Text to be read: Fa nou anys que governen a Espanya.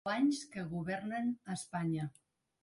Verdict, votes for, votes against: rejected, 0, 2